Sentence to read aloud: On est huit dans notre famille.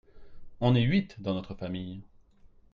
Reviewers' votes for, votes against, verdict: 2, 0, accepted